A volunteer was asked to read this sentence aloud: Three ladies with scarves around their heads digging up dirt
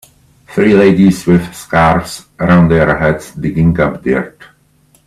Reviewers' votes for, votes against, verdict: 2, 0, accepted